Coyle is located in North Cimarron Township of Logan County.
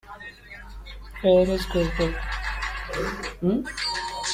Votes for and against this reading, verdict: 0, 2, rejected